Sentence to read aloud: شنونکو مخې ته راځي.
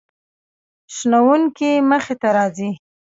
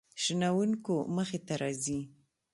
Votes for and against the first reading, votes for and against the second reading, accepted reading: 0, 2, 2, 0, second